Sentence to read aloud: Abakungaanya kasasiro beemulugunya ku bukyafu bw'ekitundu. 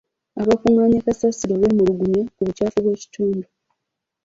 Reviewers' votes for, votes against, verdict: 2, 0, accepted